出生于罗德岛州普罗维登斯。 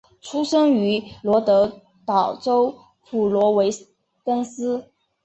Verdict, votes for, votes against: accepted, 2, 1